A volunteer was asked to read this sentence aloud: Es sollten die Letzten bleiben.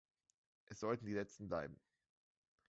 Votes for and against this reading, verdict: 1, 2, rejected